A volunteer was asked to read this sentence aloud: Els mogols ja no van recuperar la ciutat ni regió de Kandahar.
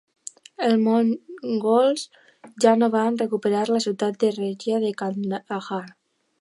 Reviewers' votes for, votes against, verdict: 0, 2, rejected